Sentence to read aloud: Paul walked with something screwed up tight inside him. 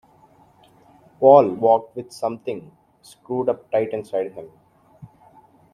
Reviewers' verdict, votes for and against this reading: accepted, 2, 0